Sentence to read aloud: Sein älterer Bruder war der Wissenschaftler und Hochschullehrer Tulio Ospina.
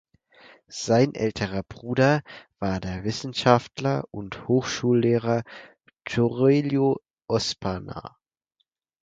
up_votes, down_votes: 0, 4